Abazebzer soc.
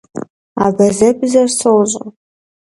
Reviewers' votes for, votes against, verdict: 2, 0, accepted